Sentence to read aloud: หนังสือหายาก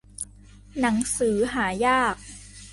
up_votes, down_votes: 2, 0